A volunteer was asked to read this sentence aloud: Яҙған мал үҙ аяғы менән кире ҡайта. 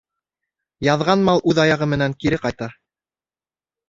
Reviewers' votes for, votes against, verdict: 2, 0, accepted